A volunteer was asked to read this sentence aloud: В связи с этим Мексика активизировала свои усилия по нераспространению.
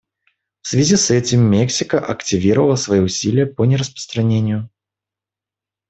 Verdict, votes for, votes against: rejected, 0, 2